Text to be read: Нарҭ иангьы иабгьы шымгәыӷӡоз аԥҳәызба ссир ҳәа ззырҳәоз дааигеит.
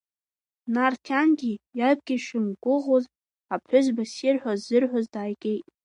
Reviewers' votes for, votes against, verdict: 1, 2, rejected